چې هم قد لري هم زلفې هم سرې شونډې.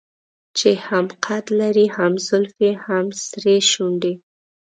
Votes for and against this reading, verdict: 2, 0, accepted